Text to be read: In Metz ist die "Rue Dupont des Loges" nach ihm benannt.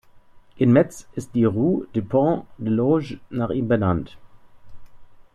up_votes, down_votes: 0, 2